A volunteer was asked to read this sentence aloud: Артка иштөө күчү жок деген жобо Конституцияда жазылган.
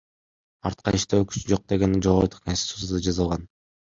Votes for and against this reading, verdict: 1, 2, rejected